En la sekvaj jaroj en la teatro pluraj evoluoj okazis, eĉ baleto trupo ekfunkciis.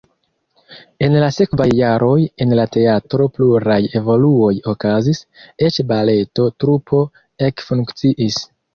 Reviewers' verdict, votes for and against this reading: rejected, 1, 2